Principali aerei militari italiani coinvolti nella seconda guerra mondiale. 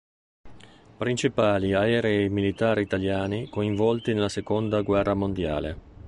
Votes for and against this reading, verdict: 2, 1, accepted